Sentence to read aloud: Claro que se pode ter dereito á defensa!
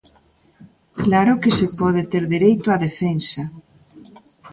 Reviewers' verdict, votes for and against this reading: accepted, 2, 1